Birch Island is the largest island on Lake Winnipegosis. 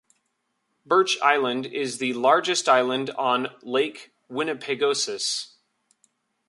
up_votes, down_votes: 2, 0